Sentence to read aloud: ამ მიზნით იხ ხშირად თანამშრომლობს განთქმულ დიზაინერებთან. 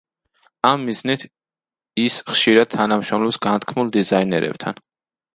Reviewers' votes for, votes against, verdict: 0, 2, rejected